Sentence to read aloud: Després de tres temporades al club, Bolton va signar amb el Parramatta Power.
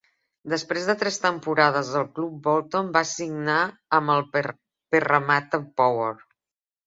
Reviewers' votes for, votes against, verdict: 1, 2, rejected